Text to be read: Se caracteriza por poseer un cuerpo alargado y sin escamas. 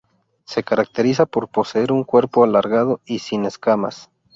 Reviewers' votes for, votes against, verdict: 2, 0, accepted